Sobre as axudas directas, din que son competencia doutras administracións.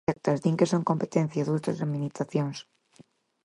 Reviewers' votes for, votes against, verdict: 0, 4, rejected